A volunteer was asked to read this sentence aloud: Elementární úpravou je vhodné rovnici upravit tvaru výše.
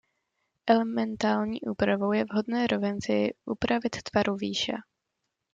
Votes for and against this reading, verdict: 1, 2, rejected